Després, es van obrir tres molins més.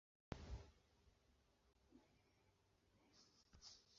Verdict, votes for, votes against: rejected, 0, 2